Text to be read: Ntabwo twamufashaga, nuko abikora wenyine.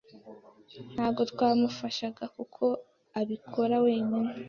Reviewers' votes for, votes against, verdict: 1, 2, rejected